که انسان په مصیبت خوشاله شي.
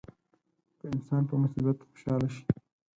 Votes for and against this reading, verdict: 2, 4, rejected